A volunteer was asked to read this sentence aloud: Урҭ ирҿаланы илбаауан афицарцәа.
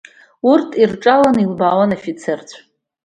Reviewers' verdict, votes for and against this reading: accepted, 2, 0